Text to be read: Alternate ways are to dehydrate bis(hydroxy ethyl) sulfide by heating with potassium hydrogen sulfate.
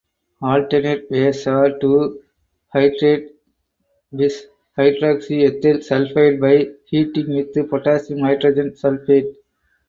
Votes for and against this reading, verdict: 0, 4, rejected